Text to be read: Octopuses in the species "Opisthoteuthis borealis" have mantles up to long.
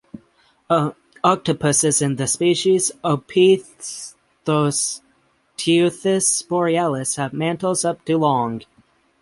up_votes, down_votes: 0, 6